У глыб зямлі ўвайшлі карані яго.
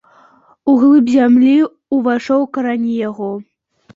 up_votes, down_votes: 0, 2